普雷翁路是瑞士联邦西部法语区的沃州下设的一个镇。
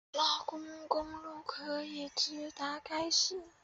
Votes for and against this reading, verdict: 0, 2, rejected